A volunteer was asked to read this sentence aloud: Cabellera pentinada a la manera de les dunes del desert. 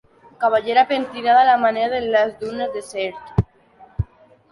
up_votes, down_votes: 0, 2